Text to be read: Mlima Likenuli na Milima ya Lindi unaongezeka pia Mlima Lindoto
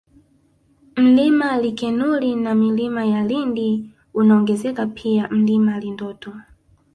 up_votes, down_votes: 1, 2